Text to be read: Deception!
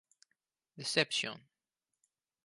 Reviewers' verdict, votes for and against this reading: accepted, 4, 0